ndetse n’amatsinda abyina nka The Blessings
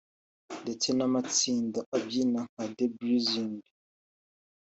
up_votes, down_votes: 2, 0